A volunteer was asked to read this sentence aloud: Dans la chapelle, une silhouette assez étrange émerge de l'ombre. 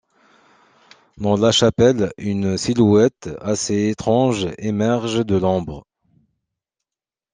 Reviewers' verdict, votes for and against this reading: accepted, 2, 0